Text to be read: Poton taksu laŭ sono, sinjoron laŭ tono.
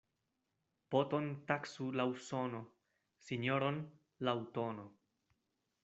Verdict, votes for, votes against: accepted, 2, 0